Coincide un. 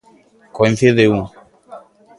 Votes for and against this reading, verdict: 2, 0, accepted